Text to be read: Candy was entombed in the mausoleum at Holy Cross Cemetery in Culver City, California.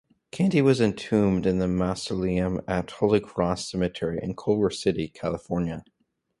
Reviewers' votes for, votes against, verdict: 2, 2, rejected